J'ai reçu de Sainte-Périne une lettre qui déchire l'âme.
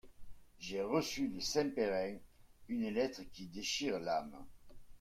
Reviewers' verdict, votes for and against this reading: rejected, 0, 2